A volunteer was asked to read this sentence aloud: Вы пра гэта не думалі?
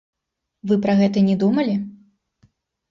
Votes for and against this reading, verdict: 0, 2, rejected